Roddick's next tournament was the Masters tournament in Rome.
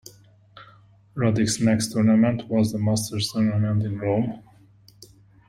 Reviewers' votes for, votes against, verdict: 2, 0, accepted